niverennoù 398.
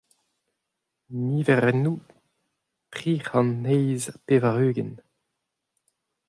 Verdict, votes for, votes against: rejected, 0, 2